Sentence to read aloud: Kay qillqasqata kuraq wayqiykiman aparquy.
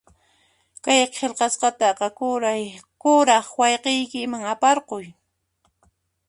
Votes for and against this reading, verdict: 1, 2, rejected